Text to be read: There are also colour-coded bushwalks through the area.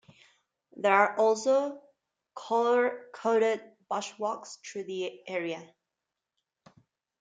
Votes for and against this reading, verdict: 5, 8, rejected